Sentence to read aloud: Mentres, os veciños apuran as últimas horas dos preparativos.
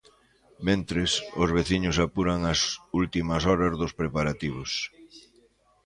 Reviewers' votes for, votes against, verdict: 1, 2, rejected